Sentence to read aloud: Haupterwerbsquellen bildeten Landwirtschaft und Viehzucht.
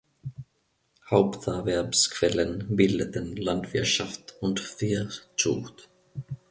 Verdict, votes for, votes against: rejected, 1, 2